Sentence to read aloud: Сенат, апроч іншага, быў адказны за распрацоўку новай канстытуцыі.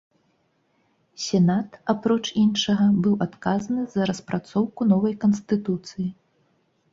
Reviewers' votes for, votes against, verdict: 2, 0, accepted